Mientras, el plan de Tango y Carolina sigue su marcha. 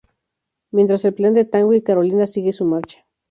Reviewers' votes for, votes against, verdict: 0, 2, rejected